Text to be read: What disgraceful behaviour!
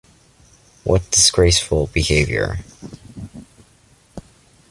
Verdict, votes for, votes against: accepted, 2, 0